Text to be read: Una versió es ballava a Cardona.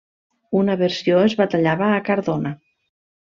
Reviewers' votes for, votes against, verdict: 0, 2, rejected